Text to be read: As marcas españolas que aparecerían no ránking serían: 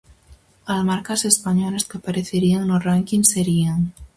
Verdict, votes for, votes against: rejected, 2, 2